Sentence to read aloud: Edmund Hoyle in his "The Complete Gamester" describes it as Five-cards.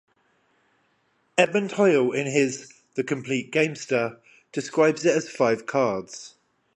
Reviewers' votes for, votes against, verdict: 0, 5, rejected